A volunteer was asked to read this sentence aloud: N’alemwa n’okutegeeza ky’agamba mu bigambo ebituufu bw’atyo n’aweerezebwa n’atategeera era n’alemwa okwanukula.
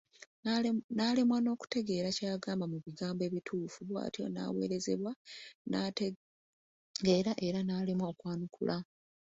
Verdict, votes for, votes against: accepted, 2, 0